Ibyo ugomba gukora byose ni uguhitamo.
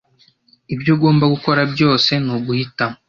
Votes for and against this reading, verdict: 2, 1, accepted